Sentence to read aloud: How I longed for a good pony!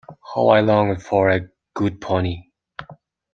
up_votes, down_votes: 2, 1